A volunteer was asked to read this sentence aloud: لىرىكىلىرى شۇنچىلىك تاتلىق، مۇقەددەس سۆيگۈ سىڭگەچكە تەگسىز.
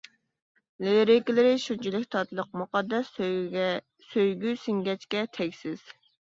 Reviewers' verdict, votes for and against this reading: rejected, 1, 2